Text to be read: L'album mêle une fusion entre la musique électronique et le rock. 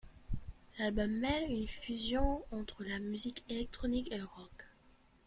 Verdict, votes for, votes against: accepted, 2, 0